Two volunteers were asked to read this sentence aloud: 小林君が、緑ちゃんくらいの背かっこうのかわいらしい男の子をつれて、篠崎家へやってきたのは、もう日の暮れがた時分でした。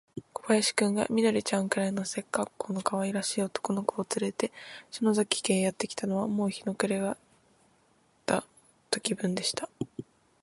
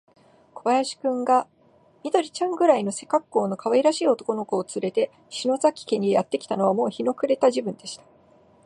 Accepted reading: second